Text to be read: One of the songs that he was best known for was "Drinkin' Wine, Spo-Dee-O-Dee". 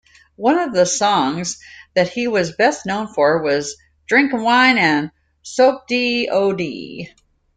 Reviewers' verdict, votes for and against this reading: rejected, 0, 2